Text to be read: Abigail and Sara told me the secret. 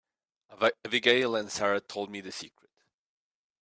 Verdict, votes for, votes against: rejected, 2, 3